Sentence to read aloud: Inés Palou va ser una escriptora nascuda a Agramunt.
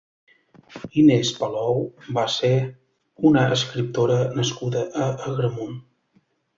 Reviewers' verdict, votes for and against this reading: accepted, 2, 0